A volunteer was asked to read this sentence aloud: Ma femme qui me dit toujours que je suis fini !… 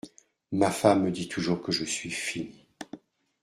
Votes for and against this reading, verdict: 0, 2, rejected